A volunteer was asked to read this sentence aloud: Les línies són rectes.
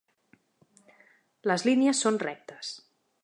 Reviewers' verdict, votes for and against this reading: accepted, 2, 0